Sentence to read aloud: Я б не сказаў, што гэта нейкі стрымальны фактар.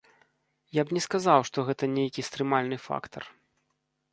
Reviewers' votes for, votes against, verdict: 2, 0, accepted